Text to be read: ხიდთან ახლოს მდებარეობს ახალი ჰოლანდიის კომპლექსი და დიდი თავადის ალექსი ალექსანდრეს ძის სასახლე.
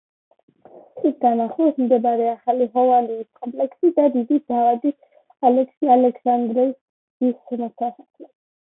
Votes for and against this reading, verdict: 0, 2, rejected